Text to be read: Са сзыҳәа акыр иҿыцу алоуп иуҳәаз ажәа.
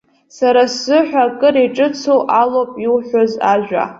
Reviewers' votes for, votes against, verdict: 3, 0, accepted